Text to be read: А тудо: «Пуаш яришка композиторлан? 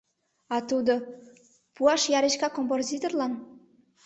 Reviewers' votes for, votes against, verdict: 0, 2, rejected